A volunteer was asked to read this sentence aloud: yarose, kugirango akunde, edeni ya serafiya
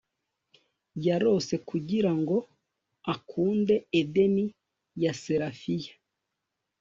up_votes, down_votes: 2, 0